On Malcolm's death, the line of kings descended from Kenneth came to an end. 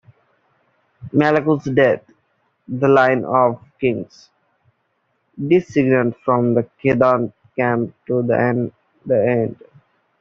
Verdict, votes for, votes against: rejected, 0, 2